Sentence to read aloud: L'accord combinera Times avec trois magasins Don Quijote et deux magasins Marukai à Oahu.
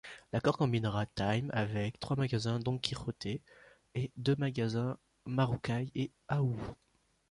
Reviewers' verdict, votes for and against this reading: rejected, 0, 2